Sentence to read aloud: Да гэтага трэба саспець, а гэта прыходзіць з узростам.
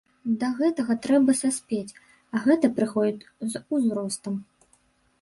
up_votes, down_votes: 1, 2